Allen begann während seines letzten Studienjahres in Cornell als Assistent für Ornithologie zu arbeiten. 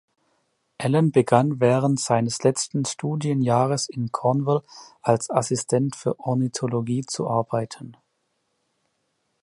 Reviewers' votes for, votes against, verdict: 0, 2, rejected